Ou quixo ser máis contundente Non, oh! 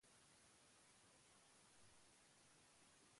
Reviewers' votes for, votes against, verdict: 0, 3, rejected